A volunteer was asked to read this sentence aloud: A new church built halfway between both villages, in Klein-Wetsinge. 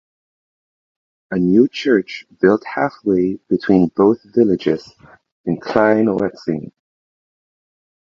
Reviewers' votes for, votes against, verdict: 0, 2, rejected